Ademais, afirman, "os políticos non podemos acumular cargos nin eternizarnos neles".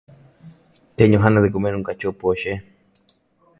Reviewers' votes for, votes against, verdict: 0, 2, rejected